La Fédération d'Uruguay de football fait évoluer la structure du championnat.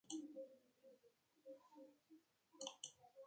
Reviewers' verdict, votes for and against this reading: rejected, 0, 2